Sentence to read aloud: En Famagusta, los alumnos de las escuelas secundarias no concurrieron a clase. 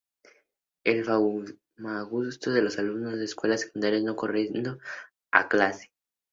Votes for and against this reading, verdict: 2, 0, accepted